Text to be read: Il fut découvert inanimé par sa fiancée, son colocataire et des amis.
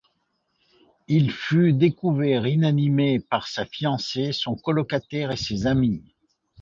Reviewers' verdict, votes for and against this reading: rejected, 0, 2